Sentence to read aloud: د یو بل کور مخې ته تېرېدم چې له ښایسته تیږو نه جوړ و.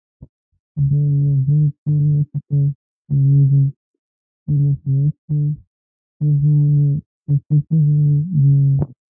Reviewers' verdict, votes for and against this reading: rejected, 0, 2